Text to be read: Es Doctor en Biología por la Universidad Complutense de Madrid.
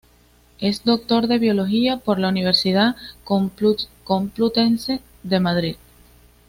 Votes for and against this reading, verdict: 2, 0, accepted